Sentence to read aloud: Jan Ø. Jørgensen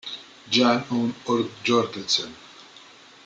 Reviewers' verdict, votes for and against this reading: rejected, 0, 2